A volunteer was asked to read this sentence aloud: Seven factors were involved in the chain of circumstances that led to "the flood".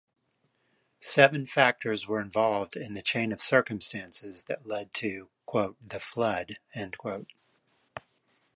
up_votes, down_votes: 1, 2